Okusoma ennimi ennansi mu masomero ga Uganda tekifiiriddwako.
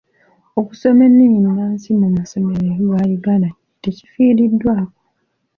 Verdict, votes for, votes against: accepted, 2, 0